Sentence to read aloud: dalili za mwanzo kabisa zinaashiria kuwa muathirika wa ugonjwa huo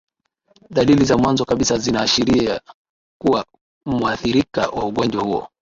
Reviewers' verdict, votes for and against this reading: accepted, 2, 0